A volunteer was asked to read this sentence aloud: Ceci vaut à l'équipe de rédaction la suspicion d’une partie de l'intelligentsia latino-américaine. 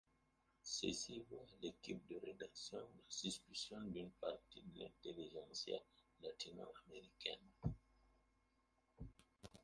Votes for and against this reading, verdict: 0, 2, rejected